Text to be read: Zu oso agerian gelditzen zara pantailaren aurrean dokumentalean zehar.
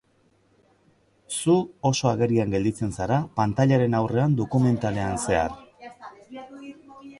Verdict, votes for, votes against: accepted, 2, 0